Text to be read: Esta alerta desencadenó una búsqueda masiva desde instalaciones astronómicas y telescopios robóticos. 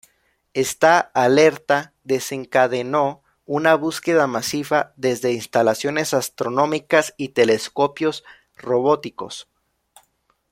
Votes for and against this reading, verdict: 2, 0, accepted